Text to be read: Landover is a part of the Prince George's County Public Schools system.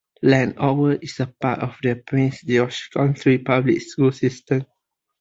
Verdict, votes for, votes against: rejected, 0, 2